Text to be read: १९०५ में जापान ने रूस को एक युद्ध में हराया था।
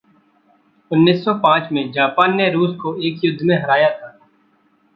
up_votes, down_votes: 0, 2